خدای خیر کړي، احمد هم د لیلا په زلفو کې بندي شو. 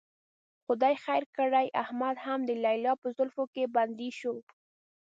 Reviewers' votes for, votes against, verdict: 0, 2, rejected